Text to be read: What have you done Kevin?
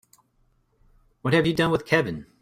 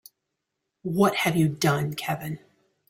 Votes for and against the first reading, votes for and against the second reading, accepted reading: 0, 2, 2, 0, second